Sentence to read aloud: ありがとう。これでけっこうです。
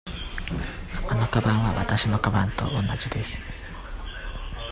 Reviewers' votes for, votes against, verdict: 0, 2, rejected